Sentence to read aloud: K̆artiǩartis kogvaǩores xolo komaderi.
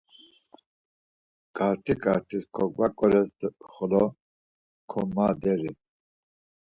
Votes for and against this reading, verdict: 2, 4, rejected